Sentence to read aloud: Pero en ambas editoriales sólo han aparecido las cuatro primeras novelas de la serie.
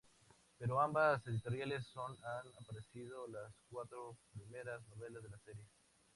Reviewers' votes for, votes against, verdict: 0, 2, rejected